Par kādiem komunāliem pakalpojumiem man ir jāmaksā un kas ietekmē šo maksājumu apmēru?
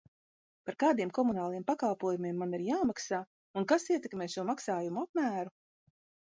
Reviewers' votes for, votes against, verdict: 2, 0, accepted